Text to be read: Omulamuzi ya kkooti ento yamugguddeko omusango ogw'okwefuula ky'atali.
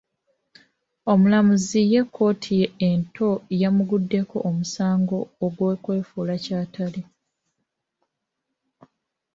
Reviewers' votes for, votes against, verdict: 0, 2, rejected